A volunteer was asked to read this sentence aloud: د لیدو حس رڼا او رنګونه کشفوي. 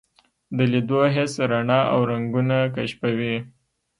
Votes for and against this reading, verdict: 1, 2, rejected